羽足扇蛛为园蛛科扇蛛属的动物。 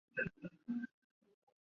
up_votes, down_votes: 4, 5